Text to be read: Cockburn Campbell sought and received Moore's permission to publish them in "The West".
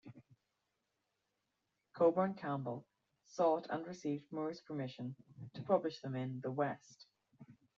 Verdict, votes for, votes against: rejected, 0, 3